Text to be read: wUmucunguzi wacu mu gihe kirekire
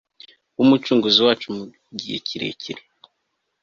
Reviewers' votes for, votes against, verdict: 3, 0, accepted